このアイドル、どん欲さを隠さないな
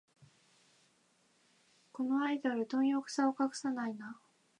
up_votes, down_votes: 2, 0